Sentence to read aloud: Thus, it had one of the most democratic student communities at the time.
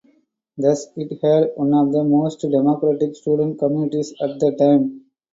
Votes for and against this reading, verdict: 2, 0, accepted